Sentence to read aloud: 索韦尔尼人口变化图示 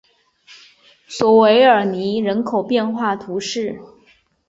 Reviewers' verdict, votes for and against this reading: accepted, 2, 0